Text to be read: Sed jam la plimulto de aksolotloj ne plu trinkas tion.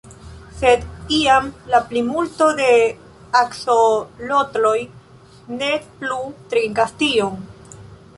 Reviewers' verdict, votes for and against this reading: rejected, 1, 2